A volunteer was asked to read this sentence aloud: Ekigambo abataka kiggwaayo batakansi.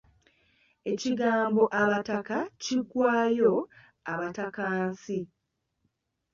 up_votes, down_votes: 1, 2